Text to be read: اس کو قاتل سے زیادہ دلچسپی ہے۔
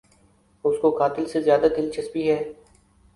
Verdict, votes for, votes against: accepted, 2, 0